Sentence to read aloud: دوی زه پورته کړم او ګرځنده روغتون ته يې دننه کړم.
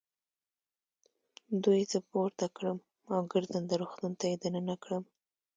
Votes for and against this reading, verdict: 2, 0, accepted